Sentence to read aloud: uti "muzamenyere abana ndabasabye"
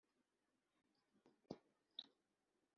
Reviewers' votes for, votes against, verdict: 0, 2, rejected